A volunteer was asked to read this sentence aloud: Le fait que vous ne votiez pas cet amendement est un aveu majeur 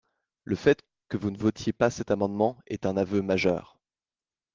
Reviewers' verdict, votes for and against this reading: accepted, 4, 0